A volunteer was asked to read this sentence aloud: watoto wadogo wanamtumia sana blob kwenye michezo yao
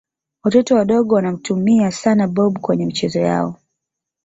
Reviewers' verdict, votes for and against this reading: accepted, 3, 0